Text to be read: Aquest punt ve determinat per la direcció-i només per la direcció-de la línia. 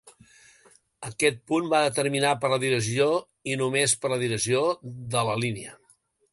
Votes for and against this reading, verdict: 1, 2, rejected